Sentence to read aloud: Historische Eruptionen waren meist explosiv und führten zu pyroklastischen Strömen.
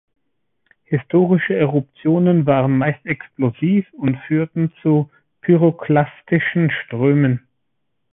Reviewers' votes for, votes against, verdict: 2, 0, accepted